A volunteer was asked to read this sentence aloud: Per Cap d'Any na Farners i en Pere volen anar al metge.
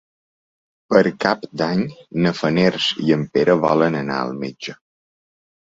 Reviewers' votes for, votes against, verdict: 1, 2, rejected